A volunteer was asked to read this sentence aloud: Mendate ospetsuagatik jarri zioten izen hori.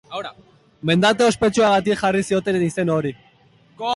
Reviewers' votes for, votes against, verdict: 2, 3, rejected